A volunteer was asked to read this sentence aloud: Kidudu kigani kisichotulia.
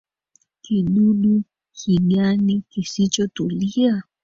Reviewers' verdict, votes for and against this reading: rejected, 0, 2